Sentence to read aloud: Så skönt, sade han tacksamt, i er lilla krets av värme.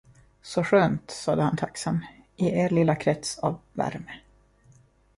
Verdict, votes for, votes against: rejected, 0, 2